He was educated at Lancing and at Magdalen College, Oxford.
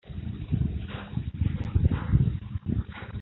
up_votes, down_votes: 0, 2